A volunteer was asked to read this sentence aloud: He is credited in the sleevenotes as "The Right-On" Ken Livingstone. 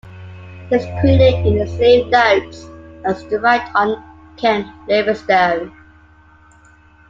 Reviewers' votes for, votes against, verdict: 0, 2, rejected